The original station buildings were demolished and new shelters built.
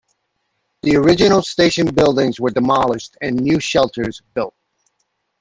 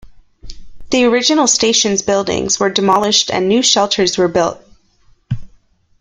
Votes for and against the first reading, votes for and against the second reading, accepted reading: 2, 0, 0, 2, first